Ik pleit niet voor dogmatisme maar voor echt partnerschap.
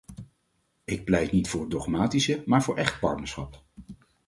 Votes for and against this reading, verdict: 2, 4, rejected